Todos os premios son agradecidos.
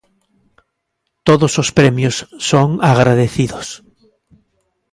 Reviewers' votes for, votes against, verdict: 2, 0, accepted